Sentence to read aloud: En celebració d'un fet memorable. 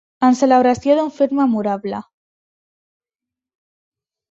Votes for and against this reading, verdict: 3, 0, accepted